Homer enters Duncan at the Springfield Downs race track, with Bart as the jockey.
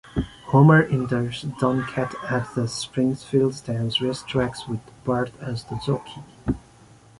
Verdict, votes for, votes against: rejected, 1, 3